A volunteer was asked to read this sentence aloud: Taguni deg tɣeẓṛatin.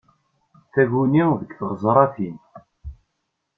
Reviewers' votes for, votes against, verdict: 2, 0, accepted